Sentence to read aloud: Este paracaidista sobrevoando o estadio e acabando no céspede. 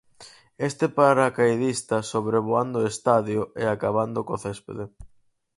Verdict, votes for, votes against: rejected, 0, 4